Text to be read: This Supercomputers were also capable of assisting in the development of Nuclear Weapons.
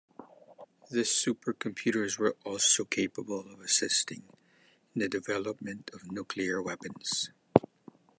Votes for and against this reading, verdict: 0, 2, rejected